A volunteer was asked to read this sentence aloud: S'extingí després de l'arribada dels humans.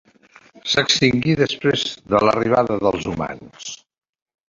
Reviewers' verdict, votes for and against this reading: rejected, 1, 2